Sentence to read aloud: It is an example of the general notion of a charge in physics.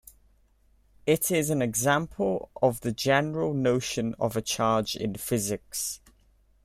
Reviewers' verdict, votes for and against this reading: accepted, 2, 0